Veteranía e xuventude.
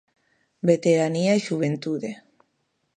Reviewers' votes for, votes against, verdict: 2, 0, accepted